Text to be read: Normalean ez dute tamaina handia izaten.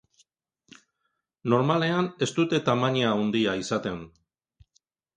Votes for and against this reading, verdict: 2, 1, accepted